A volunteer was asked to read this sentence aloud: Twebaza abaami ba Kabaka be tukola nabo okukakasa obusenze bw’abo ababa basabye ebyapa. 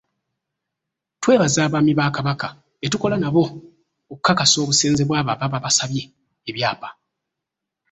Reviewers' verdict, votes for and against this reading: rejected, 1, 2